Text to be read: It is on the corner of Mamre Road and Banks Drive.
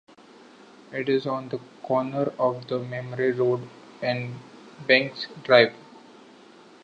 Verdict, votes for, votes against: rejected, 0, 2